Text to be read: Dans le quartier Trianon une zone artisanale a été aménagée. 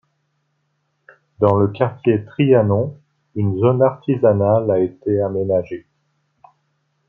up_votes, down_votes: 1, 2